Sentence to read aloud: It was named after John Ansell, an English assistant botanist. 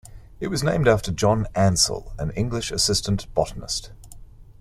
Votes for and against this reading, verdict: 2, 0, accepted